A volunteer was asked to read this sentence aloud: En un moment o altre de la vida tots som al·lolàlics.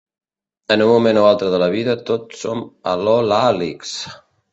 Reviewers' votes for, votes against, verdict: 1, 2, rejected